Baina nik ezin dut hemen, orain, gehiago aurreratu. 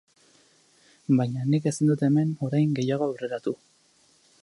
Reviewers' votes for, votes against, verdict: 14, 2, accepted